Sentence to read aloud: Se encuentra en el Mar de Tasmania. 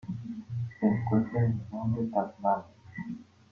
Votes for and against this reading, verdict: 0, 3, rejected